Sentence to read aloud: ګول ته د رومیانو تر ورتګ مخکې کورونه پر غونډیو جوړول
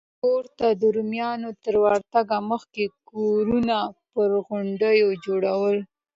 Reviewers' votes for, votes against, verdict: 2, 0, accepted